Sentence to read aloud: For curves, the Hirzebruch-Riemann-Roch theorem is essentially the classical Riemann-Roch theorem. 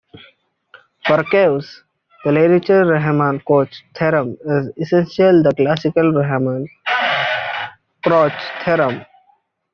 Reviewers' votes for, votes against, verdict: 0, 2, rejected